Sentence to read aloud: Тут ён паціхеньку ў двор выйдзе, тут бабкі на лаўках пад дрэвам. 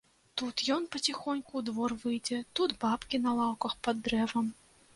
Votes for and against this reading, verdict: 1, 2, rejected